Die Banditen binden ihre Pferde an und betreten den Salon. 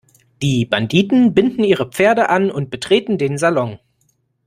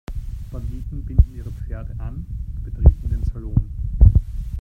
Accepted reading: first